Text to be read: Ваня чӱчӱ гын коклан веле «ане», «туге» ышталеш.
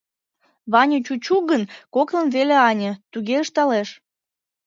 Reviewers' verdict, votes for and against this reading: rejected, 1, 2